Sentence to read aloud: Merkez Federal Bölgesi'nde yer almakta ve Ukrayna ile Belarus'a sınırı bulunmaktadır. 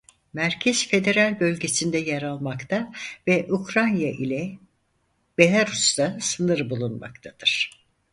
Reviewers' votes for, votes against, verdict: 0, 4, rejected